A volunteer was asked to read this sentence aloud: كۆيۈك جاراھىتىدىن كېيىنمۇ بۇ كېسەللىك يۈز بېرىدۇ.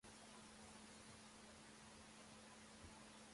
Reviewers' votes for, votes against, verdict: 0, 2, rejected